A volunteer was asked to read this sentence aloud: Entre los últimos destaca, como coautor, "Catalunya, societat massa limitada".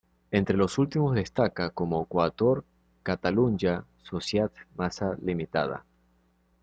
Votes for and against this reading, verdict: 0, 2, rejected